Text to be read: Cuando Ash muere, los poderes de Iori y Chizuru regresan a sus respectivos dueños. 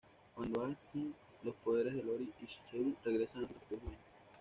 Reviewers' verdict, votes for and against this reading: rejected, 1, 2